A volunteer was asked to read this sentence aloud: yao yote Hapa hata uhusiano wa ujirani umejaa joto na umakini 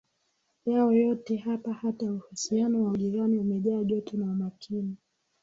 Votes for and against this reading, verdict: 2, 0, accepted